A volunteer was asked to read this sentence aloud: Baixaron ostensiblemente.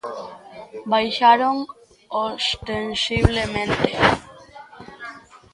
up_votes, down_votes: 1, 2